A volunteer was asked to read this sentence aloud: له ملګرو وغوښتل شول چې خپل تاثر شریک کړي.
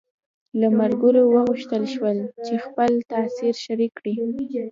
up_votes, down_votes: 1, 2